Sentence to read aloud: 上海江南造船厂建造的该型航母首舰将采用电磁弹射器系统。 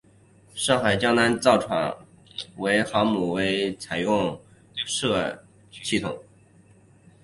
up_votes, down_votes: 1, 2